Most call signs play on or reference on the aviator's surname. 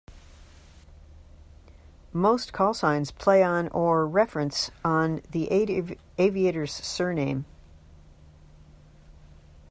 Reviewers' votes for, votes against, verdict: 0, 2, rejected